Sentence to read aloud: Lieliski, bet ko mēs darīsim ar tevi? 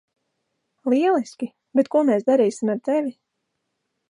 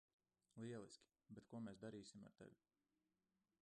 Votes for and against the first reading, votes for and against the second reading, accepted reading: 2, 0, 1, 2, first